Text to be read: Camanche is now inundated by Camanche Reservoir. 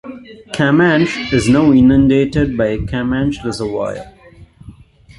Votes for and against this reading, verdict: 0, 2, rejected